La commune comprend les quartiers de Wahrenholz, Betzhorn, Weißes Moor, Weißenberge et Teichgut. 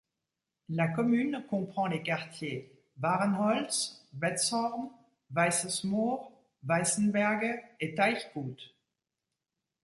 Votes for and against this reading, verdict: 1, 2, rejected